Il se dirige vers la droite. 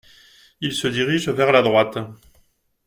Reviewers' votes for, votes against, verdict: 2, 0, accepted